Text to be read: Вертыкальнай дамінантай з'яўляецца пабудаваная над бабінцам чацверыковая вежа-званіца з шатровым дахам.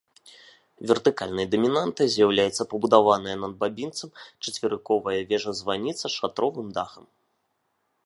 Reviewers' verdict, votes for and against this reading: accepted, 2, 0